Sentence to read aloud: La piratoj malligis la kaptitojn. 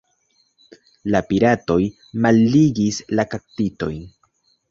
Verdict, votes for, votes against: accepted, 2, 0